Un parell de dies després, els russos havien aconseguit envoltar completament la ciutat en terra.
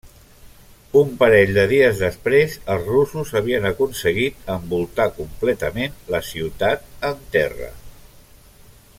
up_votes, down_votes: 2, 0